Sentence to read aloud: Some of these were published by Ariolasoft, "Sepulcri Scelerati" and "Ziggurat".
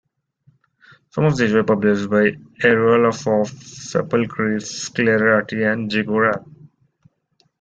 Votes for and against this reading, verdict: 0, 2, rejected